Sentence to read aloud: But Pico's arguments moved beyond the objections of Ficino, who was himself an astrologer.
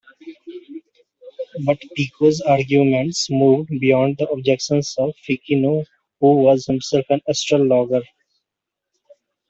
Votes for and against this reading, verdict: 0, 2, rejected